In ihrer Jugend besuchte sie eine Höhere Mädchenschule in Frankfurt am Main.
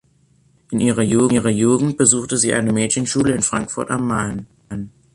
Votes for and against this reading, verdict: 0, 2, rejected